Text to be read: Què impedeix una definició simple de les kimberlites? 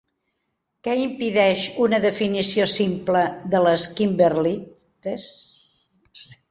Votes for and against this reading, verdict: 0, 2, rejected